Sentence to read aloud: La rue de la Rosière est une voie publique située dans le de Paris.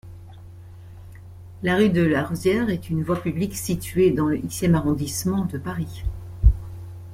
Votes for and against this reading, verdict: 1, 2, rejected